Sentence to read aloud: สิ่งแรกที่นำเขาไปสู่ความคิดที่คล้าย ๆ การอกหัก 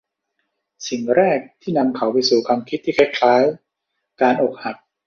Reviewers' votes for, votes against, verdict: 2, 0, accepted